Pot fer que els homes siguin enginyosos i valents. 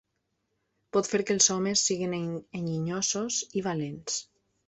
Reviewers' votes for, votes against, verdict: 0, 2, rejected